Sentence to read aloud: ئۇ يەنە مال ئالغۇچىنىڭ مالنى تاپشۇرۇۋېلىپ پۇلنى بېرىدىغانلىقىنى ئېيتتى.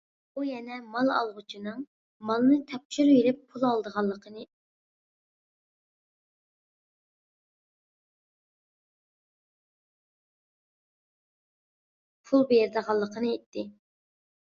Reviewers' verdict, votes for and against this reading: rejected, 0, 2